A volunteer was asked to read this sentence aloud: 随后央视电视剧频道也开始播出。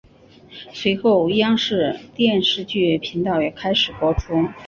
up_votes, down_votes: 6, 0